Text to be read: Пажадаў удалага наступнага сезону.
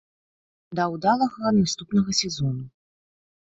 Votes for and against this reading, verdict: 0, 2, rejected